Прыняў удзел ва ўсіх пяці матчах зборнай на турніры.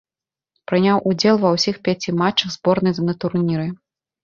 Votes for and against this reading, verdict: 1, 2, rejected